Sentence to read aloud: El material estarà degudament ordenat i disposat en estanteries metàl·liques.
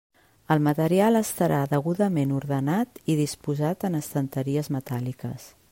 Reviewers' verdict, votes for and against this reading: accepted, 3, 0